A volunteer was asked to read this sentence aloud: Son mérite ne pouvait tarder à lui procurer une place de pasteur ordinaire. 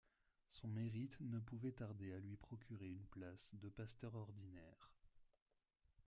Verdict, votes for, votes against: rejected, 0, 2